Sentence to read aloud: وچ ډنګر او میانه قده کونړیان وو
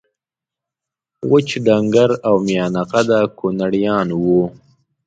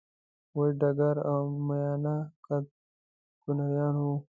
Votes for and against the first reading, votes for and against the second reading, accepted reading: 2, 0, 0, 2, first